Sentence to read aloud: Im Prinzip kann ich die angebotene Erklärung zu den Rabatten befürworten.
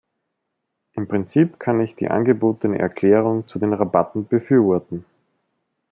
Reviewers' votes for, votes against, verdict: 2, 0, accepted